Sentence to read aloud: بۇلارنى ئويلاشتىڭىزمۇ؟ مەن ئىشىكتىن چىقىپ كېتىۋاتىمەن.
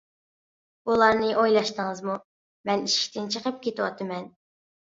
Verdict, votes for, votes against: accepted, 2, 0